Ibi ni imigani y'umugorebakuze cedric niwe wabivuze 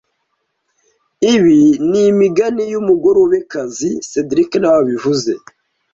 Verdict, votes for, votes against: rejected, 1, 2